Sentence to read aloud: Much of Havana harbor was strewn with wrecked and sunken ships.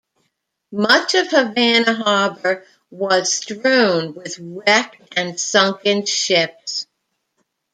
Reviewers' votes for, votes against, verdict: 2, 0, accepted